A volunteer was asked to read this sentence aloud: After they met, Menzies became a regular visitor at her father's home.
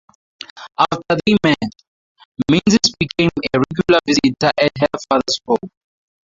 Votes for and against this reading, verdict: 2, 0, accepted